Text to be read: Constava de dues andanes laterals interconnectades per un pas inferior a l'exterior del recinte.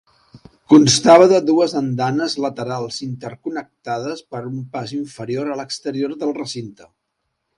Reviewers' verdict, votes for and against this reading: accepted, 3, 0